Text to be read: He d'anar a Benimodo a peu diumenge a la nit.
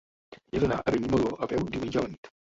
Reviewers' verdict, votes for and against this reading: rejected, 0, 2